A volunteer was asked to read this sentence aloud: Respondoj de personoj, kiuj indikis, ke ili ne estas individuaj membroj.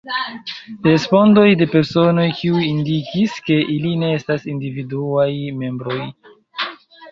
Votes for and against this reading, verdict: 2, 0, accepted